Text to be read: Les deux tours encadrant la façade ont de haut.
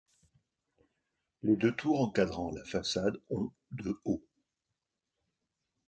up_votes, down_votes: 2, 0